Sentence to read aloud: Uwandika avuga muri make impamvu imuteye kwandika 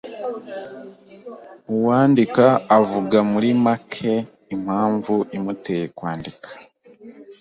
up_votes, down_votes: 3, 0